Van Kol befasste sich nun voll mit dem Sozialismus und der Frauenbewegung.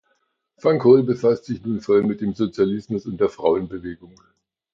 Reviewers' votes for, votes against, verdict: 1, 2, rejected